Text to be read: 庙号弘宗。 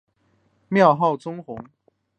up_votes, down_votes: 1, 2